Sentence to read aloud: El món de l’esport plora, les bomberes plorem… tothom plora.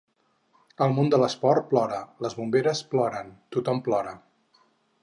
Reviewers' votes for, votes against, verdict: 2, 4, rejected